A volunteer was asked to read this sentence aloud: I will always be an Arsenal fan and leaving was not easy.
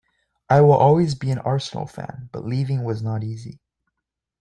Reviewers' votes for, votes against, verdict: 2, 3, rejected